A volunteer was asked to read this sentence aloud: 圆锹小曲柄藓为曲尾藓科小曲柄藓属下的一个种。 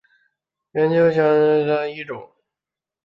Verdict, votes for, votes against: rejected, 0, 4